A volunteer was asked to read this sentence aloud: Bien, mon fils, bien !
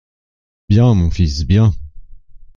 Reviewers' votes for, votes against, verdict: 2, 0, accepted